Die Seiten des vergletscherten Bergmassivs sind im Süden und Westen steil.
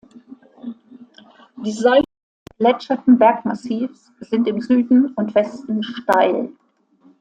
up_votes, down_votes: 1, 2